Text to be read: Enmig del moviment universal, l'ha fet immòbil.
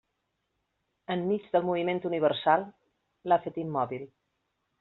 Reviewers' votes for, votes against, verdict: 3, 0, accepted